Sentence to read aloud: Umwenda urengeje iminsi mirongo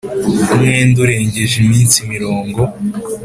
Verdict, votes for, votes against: accepted, 2, 0